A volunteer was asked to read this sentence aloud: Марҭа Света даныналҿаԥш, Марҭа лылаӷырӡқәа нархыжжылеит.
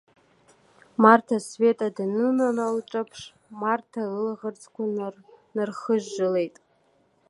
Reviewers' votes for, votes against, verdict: 1, 2, rejected